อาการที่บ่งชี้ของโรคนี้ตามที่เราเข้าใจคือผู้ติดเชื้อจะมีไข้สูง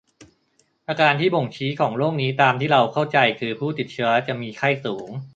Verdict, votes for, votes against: accepted, 2, 0